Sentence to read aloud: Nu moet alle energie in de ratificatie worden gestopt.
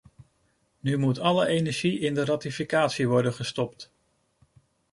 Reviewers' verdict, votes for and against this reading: accepted, 2, 0